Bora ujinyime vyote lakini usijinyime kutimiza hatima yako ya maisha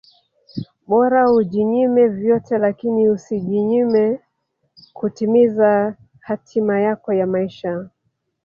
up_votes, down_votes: 2, 1